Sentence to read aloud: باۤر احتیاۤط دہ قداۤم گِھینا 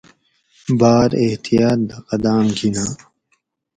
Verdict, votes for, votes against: accepted, 4, 0